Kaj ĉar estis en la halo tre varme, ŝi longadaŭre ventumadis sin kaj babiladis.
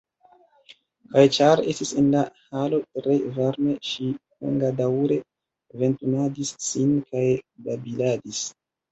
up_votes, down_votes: 2, 0